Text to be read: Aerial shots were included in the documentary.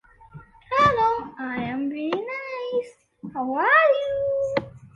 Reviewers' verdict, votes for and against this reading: rejected, 0, 2